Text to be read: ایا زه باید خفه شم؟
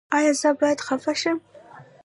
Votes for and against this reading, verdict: 0, 2, rejected